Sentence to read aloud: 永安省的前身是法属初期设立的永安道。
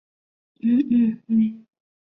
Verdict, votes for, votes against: rejected, 0, 2